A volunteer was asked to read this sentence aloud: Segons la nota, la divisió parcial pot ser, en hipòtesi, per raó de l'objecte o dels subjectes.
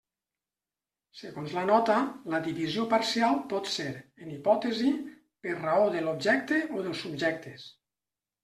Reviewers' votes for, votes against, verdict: 2, 0, accepted